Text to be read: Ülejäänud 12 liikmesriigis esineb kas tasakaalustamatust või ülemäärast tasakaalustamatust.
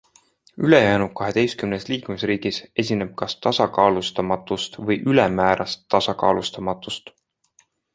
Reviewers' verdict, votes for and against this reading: rejected, 0, 2